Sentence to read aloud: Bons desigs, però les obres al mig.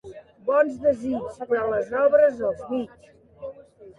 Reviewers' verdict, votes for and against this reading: rejected, 1, 2